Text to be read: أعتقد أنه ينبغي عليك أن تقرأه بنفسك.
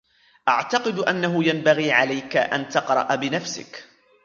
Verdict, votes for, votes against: rejected, 0, 2